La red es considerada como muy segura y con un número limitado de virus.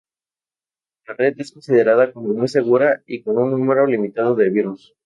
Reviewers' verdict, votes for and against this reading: rejected, 2, 2